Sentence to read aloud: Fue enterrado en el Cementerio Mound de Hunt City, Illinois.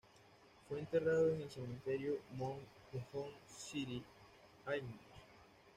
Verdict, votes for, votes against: accepted, 2, 1